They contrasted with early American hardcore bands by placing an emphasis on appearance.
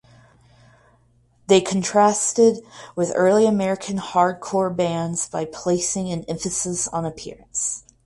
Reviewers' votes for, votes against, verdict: 4, 0, accepted